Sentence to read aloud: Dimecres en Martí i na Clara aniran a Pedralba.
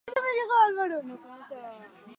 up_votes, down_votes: 0, 4